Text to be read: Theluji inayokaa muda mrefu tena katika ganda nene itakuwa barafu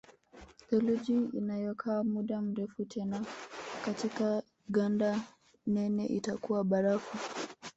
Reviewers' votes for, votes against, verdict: 0, 2, rejected